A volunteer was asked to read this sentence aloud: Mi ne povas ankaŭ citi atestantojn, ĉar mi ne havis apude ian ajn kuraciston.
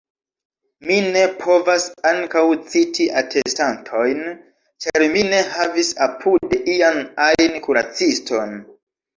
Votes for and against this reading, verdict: 0, 2, rejected